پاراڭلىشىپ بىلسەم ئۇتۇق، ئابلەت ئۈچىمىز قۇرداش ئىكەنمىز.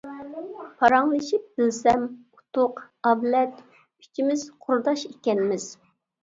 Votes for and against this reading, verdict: 2, 1, accepted